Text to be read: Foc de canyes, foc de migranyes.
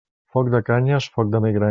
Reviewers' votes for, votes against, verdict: 1, 2, rejected